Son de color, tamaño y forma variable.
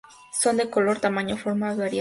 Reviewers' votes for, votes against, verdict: 2, 4, rejected